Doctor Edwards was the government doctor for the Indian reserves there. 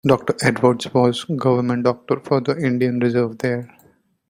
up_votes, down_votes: 0, 2